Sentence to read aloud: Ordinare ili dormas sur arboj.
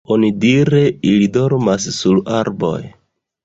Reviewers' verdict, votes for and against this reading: rejected, 1, 2